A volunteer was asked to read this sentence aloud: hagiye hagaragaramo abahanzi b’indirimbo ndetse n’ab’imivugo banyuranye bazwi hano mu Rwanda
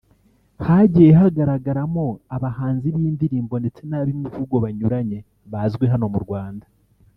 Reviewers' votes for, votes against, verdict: 1, 2, rejected